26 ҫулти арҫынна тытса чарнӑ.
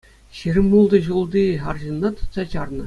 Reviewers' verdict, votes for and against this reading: rejected, 0, 2